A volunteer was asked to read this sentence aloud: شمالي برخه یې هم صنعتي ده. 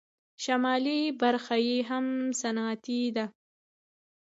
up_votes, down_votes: 2, 0